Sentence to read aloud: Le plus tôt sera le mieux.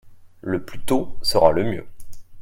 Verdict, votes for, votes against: accepted, 2, 0